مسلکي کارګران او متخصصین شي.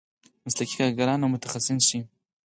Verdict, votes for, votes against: rejected, 0, 4